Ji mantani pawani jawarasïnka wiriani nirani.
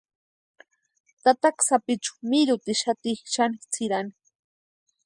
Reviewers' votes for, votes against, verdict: 0, 2, rejected